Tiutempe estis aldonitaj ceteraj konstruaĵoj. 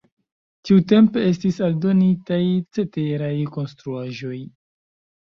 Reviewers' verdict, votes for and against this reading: rejected, 1, 2